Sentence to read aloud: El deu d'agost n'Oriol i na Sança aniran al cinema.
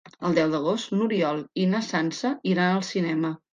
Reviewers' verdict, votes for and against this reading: rejected, 2, 3